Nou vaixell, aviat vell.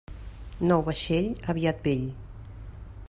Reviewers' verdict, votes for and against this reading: accepted, 3, 0